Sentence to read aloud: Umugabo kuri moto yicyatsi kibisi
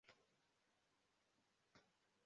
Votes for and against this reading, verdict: 0, 2, rejected